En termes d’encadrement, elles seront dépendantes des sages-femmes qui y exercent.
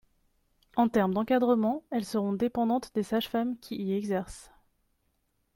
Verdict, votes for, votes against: accepted, 2, 0